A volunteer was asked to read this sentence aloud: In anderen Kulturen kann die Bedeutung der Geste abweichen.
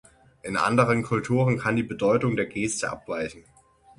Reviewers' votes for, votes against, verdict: 6, 0, accepted